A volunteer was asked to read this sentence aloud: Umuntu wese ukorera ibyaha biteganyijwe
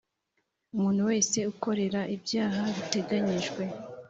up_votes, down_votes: 2, 0